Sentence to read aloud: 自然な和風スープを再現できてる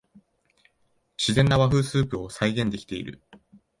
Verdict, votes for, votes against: rejected, 1, 2